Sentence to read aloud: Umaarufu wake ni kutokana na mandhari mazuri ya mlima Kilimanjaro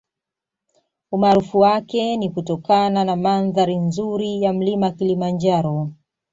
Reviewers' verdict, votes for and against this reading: rejected, 0, 2